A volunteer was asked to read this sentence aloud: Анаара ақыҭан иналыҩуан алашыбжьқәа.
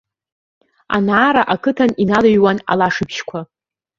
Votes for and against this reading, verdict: 1, 2, rejected